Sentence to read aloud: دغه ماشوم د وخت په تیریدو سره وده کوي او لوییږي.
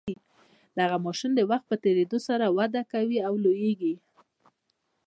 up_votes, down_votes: 0, 2